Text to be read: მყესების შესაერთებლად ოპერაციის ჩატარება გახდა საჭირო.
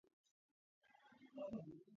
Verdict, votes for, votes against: rejected, 0, 2